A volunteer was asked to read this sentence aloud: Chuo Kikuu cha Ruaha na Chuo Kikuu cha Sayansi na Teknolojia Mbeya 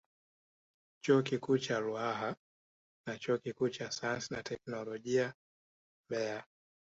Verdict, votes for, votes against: rejected, 1, 2